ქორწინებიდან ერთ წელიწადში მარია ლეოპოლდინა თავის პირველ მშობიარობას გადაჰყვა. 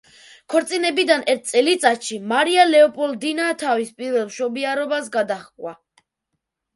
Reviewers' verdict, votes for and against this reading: rejected, 0, 2